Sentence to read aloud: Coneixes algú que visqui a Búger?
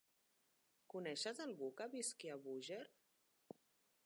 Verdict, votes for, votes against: rejected, 0, 2